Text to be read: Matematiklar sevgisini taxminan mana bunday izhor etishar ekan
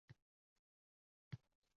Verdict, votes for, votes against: rejected, 0, 2